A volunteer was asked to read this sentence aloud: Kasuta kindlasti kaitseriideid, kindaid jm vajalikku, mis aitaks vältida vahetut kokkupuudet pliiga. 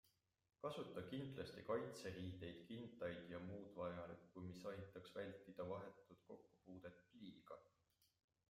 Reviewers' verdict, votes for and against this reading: accepted, 2, 1